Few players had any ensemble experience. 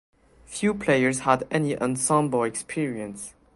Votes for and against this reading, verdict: 2, 0, accepted